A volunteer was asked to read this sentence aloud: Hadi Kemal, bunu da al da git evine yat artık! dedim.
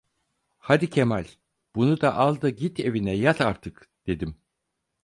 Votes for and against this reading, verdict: 4, 0, accepted